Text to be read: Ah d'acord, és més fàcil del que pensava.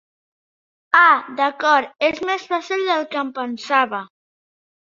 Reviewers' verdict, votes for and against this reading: rejected, 0, 2